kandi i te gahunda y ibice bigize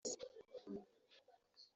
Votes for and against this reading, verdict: 0, 2, rejected